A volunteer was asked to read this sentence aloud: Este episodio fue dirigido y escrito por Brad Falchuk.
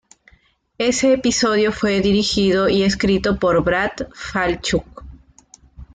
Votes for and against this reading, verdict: 1, 2, rejected